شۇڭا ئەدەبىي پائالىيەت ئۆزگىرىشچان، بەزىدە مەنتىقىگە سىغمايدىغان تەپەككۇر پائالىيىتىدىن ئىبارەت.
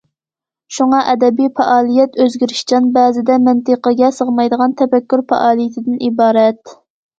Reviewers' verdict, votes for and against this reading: accepted, 2, 0